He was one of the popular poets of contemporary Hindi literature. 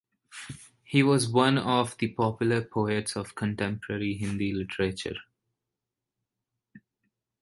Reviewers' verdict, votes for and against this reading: accepted, 4, 0